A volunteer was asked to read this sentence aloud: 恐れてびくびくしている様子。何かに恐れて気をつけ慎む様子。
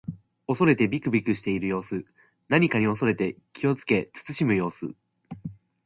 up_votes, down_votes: 2, 0